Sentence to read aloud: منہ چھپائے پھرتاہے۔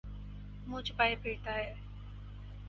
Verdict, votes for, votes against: accepted, 4, 0